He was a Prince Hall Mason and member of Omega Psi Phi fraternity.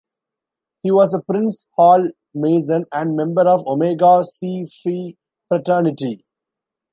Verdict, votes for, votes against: rejected, 1, 2